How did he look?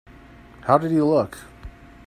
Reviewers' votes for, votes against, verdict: 2, 1, accepted